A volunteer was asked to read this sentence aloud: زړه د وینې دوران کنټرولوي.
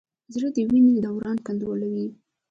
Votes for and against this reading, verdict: 2, 0, accepted